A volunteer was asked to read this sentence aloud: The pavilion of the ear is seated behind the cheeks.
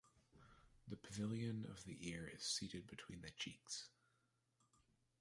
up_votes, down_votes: 1, 2